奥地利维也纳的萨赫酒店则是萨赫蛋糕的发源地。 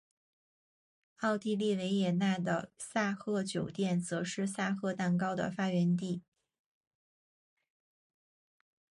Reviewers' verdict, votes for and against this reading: accepted, 2, 0